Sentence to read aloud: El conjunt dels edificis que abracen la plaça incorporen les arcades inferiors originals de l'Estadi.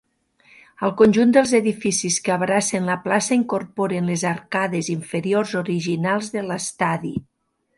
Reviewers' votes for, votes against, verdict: 2, 0, accepted